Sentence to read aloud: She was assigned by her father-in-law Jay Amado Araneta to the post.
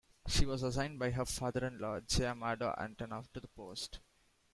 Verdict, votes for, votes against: rejected, 0, 2